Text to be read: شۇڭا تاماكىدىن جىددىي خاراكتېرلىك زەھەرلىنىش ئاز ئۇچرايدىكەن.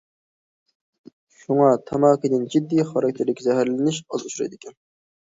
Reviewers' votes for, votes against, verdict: 1, 2, rejected